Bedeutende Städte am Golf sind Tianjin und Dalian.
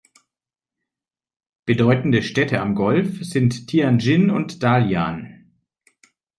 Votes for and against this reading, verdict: 2, 0, accepted